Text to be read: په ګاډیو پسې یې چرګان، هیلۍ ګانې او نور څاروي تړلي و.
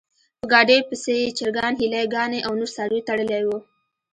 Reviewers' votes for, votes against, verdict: 1, 2, rejected